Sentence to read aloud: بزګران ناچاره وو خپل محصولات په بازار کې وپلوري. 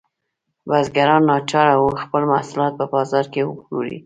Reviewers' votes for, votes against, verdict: 2, 1, accepted